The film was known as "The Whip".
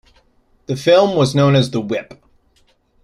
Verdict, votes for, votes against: accepted, 2, 1